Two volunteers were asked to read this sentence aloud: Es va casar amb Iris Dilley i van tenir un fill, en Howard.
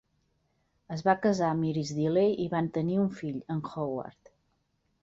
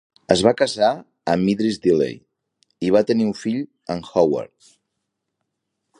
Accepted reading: first